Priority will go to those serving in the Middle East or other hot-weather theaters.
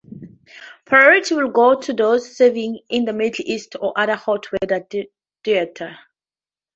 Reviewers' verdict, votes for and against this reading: accepted, 2, 0